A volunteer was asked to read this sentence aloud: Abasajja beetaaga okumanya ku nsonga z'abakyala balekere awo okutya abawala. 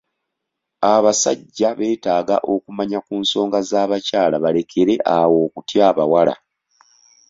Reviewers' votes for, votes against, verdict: 2, 0, accepted